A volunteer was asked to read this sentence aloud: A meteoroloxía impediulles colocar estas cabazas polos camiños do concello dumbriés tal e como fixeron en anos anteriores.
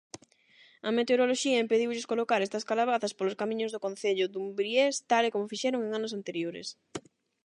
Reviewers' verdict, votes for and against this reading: rejected, 0, 8